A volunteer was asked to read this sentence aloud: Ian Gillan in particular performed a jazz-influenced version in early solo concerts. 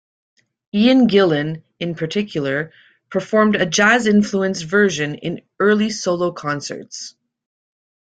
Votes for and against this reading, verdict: 2, 0, accepted